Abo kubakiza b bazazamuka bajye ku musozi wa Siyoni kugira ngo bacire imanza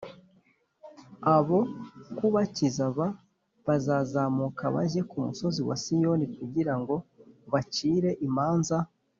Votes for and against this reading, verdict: 2, 0, accepted